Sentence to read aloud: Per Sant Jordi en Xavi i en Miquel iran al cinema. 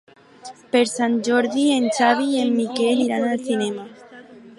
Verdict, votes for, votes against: rejected, 0, 2